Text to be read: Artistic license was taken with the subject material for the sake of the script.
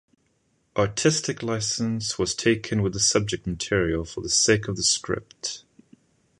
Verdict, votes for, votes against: accepted, 2, 0